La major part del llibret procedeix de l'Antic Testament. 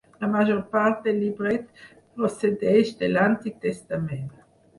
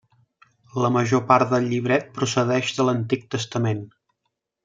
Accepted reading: second